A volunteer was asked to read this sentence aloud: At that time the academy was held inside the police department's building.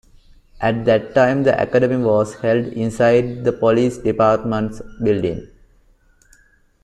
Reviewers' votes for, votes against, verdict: 2, 1, accepted